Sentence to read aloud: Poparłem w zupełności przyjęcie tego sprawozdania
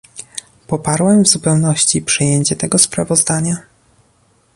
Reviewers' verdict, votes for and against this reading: accepted, 2, 0